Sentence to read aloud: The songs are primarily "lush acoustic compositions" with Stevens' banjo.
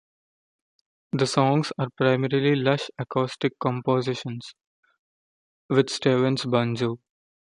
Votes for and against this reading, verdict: 0, 2, rejected